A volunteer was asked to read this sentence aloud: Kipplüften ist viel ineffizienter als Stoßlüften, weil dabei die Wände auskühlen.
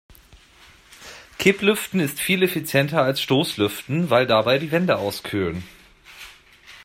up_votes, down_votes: 0, 2